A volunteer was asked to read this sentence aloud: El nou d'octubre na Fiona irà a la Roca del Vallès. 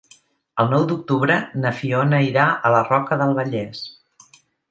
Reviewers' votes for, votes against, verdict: 2, 0, accepted